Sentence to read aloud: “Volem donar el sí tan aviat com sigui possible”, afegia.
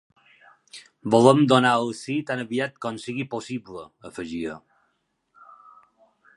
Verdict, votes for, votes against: accepted, 5, 0